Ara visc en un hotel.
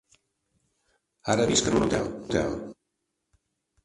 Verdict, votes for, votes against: rejected, 1, 2